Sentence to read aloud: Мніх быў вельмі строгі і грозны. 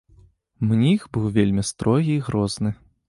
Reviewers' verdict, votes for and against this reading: accepted, 2, 0